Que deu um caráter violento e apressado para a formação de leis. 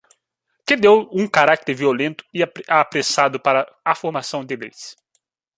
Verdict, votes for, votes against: rejected, 0, 2